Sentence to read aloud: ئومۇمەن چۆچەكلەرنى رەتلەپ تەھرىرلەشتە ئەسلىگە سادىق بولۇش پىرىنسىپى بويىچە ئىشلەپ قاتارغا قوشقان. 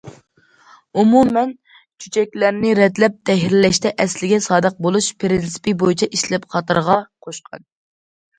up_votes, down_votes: 2, 0